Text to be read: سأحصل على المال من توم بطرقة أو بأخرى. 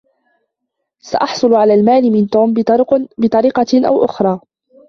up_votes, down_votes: 1, 2